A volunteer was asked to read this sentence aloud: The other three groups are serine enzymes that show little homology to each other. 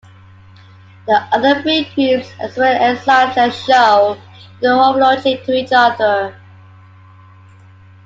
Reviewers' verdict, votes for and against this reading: rejected, 0, 2